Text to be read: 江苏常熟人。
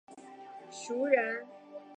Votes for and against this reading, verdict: 1, 2, rejected